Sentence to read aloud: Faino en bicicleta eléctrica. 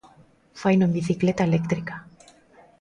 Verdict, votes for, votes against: accepted, 2, 0